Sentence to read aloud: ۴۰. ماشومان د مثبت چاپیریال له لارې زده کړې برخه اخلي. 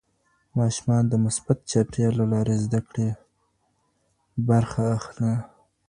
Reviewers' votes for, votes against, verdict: 0, 2, rejected